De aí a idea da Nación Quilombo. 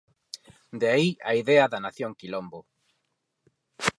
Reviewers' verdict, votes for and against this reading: accepted, 4, 0